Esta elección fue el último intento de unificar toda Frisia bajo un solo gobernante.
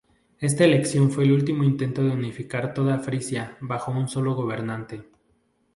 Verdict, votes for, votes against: accepted, 2, 0